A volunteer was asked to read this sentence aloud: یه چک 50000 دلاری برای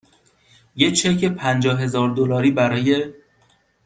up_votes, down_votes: 0, 2